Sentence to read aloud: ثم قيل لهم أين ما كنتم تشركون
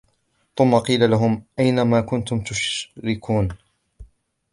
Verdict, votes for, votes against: rejected, 0, 3